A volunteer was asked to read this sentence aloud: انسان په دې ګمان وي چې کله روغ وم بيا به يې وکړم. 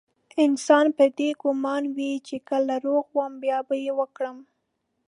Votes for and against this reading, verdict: 2, 0, accepted